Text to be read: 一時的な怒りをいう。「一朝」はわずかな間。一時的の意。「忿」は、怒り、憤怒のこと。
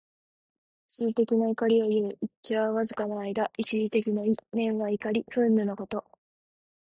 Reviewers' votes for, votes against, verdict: 2, 0, accepted